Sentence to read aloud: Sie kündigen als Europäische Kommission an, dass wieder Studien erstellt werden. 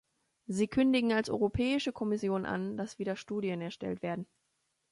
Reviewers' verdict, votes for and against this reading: accepted, 2, 0